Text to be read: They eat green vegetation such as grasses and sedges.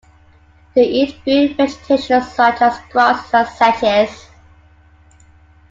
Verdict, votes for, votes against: rejected, 0, 2